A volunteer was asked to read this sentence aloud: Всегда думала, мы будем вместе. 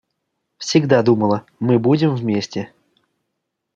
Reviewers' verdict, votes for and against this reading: accepted, 2, 0